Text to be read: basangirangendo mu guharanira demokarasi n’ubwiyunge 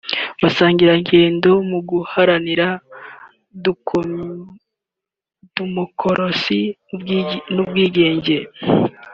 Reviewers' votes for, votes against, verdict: 1, 3, rejected